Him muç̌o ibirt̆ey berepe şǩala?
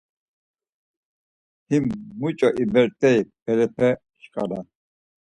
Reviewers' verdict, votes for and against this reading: accepted, 4, 2